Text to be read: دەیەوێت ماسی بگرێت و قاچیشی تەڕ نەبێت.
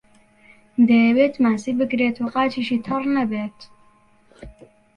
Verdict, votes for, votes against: accepted, 2, 0